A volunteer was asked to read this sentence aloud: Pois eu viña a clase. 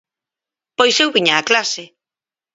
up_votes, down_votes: 4, 0